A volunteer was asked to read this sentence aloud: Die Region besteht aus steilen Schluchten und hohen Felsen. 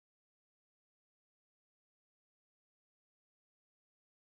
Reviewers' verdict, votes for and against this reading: rejected, 0, 2